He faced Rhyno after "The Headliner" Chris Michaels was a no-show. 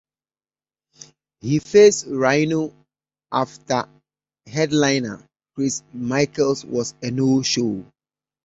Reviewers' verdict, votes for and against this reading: rejected, 0, 2